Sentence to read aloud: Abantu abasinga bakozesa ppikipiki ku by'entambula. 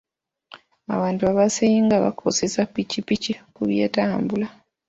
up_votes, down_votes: 3, 2